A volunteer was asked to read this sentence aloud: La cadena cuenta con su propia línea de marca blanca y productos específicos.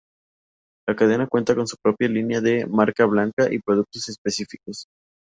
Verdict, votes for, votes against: accepted, 4, 0